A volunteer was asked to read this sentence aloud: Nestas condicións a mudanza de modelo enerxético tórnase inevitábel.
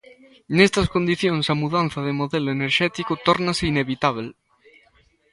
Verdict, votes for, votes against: accepted, 2, 0